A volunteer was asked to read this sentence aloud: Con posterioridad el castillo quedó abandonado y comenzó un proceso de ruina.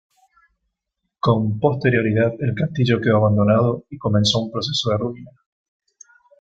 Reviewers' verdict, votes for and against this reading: rejected, 0, 2